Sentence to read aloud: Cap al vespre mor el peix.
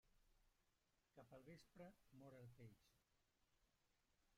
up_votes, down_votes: 0, 2